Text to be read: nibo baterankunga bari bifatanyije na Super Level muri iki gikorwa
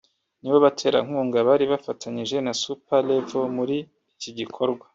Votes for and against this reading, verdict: 1, 2, rejected